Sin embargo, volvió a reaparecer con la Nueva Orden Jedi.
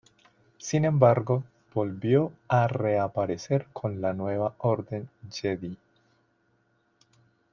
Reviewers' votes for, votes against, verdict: 2, 0, accepted